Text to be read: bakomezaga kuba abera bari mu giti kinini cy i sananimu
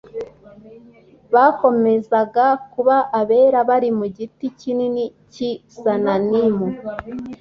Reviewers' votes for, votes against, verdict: 2, 0, accepted